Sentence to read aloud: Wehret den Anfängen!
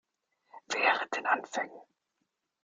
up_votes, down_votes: 1, 2